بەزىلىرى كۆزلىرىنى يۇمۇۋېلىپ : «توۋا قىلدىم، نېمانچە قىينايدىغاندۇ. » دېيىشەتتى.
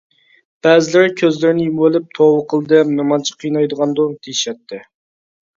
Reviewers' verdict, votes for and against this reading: accepted, 2, 0